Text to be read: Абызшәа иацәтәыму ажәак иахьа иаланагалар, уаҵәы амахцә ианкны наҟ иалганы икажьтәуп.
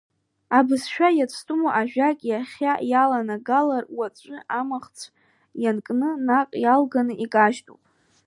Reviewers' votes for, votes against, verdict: 2, 1, accepted